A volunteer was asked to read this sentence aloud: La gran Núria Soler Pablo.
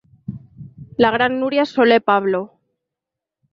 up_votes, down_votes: 3, 0